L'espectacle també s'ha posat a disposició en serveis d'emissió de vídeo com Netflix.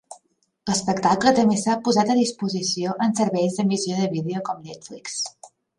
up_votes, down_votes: 3, 0